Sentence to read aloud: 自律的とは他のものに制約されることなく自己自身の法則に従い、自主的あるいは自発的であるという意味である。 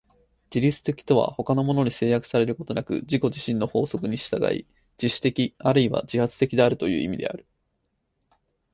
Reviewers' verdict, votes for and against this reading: accepted, 4, 0